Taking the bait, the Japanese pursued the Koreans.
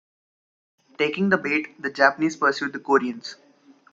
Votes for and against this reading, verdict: 2, 0, accepted